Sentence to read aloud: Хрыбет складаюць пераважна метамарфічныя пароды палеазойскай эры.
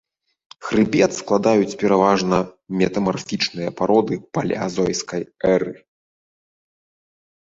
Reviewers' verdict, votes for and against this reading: accepted, 2, 0